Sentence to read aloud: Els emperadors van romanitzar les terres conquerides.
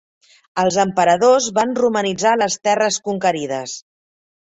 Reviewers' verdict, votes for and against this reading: accepted, 3, 0